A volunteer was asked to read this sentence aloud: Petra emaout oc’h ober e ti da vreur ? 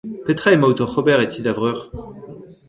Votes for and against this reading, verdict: 1, 2, rejected